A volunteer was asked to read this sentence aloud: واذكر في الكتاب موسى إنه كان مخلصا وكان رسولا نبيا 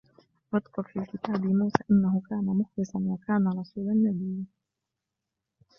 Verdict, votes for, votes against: rejected, 1, 2